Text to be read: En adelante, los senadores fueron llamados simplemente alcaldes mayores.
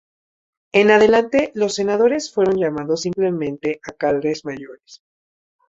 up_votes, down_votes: 0, 2